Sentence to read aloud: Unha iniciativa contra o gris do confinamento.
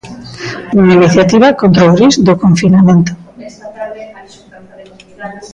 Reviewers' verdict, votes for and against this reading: rejected, 1, 2